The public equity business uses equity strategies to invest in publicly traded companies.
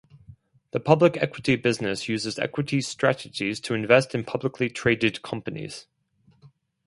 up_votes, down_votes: 2, 0